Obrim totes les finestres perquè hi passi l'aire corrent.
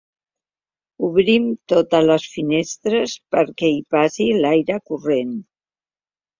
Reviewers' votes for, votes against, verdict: 3, 0, accepted